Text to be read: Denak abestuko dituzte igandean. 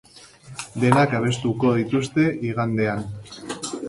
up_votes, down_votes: 2, 0